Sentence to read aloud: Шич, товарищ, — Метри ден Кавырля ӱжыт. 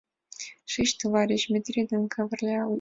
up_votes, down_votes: 1, 3